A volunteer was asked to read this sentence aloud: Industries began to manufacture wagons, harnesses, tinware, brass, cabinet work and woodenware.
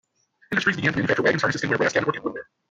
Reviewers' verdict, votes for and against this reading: rejected, 0, 2